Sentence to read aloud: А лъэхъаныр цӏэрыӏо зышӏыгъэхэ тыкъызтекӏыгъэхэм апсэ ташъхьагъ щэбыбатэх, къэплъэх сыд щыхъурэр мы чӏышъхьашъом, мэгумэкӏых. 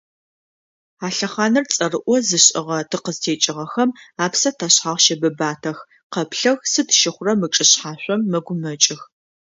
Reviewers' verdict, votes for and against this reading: accepted, 2, 0